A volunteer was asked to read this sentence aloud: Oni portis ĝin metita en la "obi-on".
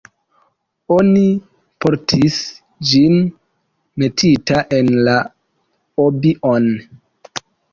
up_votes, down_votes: 2, 0